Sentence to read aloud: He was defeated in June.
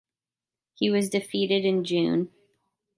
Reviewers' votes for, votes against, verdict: 2, 0, accepted